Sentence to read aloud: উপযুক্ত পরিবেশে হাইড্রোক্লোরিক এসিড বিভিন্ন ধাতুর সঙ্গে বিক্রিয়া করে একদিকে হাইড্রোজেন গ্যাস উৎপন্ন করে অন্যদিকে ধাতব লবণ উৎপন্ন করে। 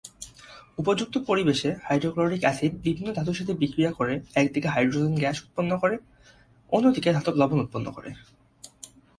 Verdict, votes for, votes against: accepted, 2, 1